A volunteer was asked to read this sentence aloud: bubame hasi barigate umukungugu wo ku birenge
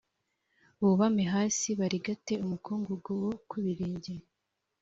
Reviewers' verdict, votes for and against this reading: accepted, 2, 0